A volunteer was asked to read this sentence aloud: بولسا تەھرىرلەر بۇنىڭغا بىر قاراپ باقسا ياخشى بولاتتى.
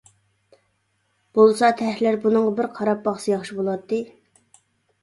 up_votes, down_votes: 0, 2